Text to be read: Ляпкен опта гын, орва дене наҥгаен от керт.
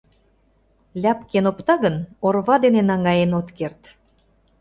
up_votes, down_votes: 2, 0